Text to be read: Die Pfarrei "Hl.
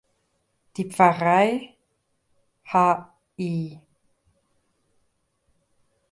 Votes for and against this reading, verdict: 0, 2, rejected